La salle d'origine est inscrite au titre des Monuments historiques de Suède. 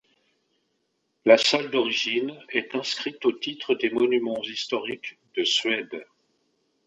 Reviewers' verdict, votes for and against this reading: accepted, 2, 0